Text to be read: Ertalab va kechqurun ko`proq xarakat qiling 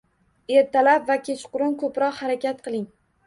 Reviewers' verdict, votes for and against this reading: rejected, 1, 2